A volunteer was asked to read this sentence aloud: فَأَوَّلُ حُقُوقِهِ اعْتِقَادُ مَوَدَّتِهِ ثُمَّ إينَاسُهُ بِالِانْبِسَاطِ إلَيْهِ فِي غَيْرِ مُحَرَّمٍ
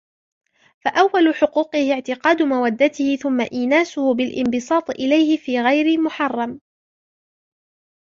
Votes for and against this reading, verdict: 3, 2, accepted